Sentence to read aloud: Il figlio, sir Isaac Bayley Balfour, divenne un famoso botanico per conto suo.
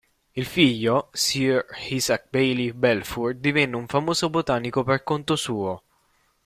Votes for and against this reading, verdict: 2, 0, accepted